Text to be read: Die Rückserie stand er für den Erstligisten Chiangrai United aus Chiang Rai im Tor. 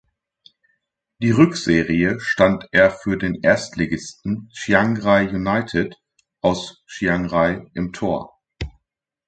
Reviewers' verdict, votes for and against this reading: accepted, 2, 0